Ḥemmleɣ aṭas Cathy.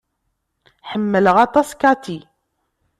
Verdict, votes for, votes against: accepted, 2, 0